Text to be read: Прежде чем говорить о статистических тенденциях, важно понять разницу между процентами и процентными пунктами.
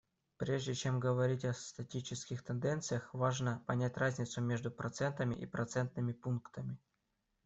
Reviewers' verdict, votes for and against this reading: rejected, 0, 2